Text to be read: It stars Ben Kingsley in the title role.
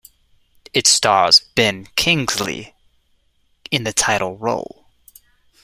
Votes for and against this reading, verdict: 2, 0, accepted